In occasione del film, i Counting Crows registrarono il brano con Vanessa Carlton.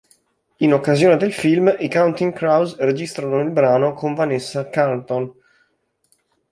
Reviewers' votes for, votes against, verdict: 1, 2, rejected